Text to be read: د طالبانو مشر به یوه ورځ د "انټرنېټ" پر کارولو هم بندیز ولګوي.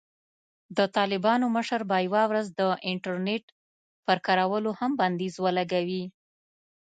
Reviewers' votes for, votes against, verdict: 2, 0, accepted